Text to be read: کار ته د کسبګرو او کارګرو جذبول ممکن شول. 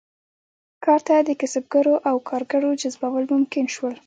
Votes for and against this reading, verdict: 2, 0, accepted